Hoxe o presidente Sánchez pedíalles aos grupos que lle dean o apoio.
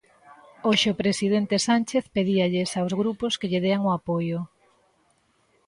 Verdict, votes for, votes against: accepted, 2, 0